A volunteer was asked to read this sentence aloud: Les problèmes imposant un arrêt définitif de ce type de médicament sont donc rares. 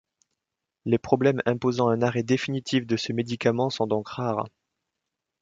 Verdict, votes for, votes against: rejected, 1, 2